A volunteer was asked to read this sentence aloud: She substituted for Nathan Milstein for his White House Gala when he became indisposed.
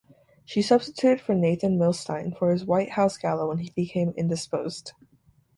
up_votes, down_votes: 2, 4